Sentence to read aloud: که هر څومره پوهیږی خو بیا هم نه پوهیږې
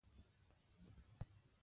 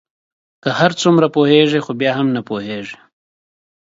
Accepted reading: second